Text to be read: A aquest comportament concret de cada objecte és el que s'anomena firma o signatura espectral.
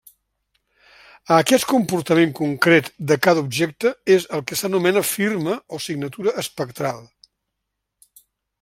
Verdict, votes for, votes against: rejected, 1, 2